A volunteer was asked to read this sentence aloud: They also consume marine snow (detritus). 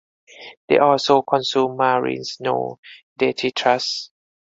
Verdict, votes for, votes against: rejected, 0, 2